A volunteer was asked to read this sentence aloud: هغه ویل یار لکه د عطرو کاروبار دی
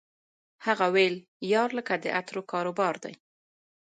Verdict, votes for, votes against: rejected, 1, 2